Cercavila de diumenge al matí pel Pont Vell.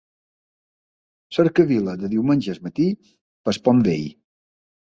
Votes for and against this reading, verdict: 2, 3, rejected